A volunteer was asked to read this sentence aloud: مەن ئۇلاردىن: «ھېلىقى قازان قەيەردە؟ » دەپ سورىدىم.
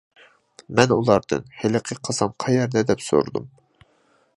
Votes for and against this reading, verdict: 2, 0, accepted